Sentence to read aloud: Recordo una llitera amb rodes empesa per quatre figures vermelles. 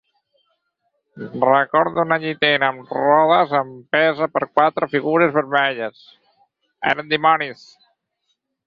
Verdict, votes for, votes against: rejected, 0, 4